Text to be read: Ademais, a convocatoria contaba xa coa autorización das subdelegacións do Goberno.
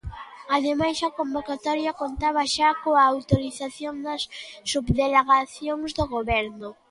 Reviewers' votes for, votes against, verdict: 2, 1, accepted